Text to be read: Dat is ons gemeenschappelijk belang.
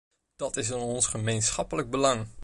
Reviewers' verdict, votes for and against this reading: rejected, 0, 2